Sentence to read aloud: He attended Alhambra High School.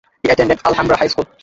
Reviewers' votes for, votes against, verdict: 0, 2, rejected